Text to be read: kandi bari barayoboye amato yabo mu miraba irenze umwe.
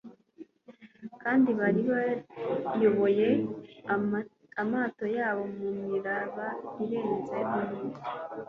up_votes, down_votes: 0, 2